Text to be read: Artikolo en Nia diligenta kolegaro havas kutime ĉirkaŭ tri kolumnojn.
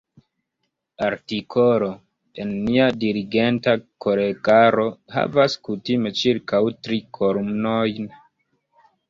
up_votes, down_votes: 0, 2